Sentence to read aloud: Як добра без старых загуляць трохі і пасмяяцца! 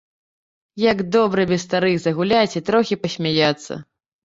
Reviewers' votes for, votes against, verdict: 1, 3, rejected